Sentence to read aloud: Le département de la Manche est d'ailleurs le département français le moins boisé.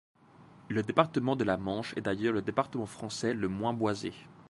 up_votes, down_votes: 2, 0